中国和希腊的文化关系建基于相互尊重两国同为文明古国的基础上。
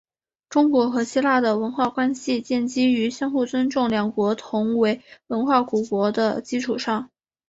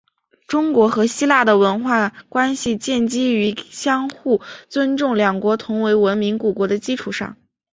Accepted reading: second